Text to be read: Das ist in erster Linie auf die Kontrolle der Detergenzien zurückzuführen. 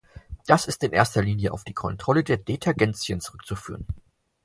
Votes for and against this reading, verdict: 4, 0, accepted